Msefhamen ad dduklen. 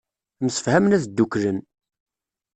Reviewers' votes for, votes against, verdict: 2, 0, accepted